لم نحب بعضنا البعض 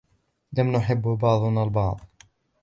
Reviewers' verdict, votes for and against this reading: accepted, 2, 0